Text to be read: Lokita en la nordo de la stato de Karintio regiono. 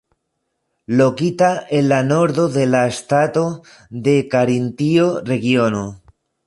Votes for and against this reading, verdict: 1, 2, rejected